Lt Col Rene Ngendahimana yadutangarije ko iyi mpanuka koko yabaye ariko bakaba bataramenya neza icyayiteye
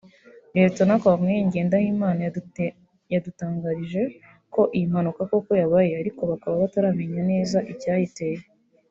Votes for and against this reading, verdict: 0, 2, rejected